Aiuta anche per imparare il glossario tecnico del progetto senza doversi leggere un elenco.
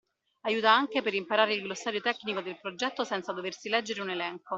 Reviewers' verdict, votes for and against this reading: accepted, 2, 0